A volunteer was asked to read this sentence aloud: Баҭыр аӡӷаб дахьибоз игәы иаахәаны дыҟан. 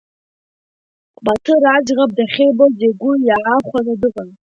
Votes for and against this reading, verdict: 0, 2, rejected